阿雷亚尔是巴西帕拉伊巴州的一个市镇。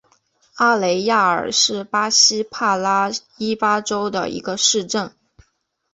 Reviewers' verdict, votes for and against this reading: accepted, 2, 0